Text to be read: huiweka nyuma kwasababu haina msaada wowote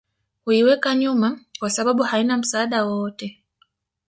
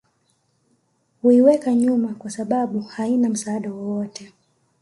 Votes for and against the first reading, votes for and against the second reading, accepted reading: 1, 2, 2, 1, second